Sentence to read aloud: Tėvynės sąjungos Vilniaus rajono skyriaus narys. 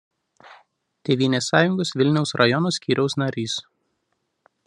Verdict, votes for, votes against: accepted, 2, 0